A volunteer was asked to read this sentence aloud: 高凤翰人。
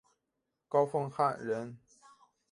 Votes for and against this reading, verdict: 2, 0, accepted